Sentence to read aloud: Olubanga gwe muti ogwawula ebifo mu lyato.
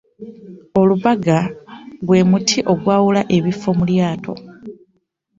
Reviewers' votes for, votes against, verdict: 0, 2, rejected